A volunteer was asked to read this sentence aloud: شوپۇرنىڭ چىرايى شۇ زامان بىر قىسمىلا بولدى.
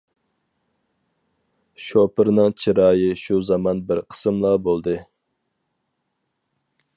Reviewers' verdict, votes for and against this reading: rejected, 2, 2